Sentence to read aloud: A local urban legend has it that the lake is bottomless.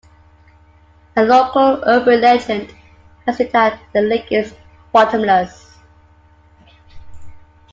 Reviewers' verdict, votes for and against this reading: accepted, 3, 1